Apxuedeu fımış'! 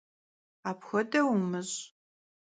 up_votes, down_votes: 0, 2